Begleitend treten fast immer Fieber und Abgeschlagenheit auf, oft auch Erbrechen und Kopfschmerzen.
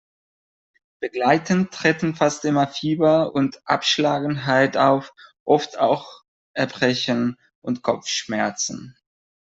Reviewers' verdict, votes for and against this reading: rejected, 0, 2